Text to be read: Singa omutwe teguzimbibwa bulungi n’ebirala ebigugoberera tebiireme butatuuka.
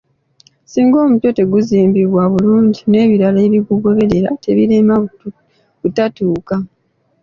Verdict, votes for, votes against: accepted, 2, 1